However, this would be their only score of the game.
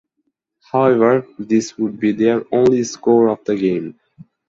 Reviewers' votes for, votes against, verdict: 2, 2, rejected